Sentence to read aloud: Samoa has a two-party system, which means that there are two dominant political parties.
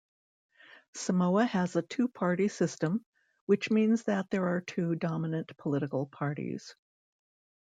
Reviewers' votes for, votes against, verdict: 2, 0, accepted